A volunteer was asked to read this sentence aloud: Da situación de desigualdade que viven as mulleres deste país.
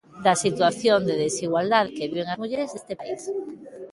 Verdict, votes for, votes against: rejected, 1, 2